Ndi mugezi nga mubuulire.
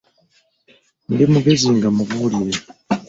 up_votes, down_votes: 2, 0